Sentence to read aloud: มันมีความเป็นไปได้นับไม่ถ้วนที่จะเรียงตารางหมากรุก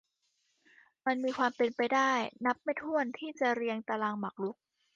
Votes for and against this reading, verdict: 2, 0, accepted